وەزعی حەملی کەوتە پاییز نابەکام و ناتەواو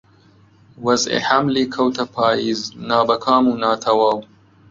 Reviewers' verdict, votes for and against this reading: accepted, 2, 0